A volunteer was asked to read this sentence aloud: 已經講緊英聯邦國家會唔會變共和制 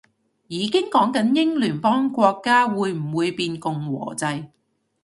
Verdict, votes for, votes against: accepted, 2, 0